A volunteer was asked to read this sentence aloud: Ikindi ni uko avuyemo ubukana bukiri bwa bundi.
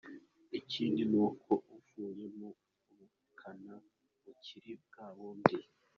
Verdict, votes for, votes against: rejected, 2, 3